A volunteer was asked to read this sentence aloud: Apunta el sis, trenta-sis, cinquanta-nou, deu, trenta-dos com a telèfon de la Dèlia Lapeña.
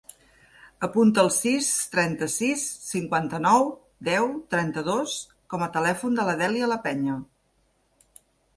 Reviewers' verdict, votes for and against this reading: accepted, 2, 0